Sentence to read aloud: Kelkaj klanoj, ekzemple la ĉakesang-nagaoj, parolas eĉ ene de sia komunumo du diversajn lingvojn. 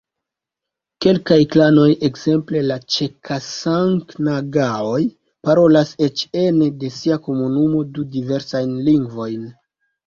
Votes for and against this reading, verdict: 2, 3, rejected